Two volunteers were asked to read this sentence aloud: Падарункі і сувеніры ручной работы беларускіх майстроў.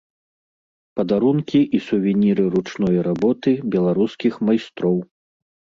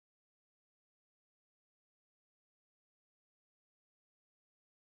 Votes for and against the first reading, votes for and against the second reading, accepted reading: 2, 0, 0, 2, first